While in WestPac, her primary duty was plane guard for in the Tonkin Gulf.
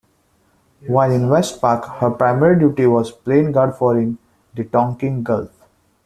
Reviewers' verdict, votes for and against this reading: accepted, 2, 0